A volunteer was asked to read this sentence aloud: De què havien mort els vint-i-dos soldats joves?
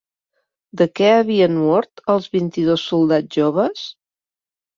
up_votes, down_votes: 3, 0